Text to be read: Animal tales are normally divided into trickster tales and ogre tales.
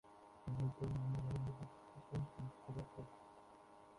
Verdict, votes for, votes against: rejected, 0, 2